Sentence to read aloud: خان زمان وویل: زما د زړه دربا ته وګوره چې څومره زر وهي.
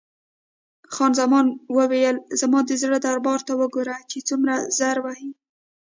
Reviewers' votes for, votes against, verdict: 1, 2, rejected